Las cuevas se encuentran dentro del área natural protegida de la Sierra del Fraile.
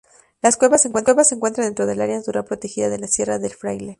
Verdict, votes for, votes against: rejected, 0, 2